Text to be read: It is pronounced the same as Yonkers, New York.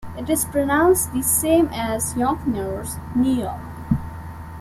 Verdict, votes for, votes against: rejected, 0, 2